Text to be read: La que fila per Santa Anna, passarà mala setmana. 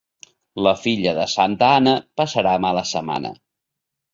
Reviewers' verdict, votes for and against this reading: rejected, 0, 2